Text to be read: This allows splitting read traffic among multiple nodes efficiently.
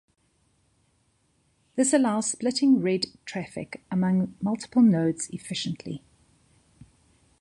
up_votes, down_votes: 2, 1